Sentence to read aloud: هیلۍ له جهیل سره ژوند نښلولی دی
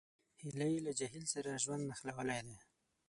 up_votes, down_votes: 3, 6